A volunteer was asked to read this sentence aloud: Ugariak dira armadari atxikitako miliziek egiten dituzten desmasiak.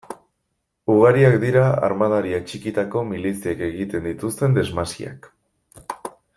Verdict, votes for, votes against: accepted, 2, 0